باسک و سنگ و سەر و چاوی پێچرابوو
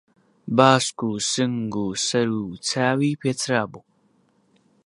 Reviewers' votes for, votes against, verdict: 2, 0, accepted